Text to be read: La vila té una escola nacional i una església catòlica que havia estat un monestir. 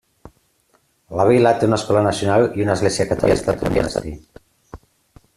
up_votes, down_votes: 0, 2